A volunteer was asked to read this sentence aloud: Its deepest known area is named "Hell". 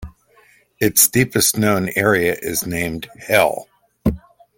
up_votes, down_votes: 2, 0